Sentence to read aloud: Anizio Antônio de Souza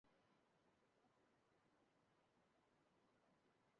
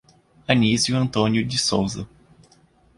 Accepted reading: second